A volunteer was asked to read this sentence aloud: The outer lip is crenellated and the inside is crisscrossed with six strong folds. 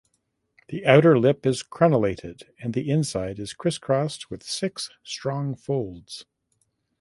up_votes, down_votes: 2, 0